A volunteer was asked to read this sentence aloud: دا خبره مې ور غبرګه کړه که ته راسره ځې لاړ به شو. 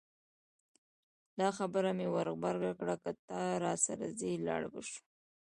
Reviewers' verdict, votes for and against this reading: rejected, 1, 2